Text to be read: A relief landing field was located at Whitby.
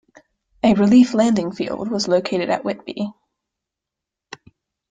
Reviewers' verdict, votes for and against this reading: accepted, 2, 0